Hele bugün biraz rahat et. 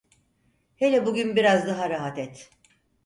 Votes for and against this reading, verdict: 0, 4, rejected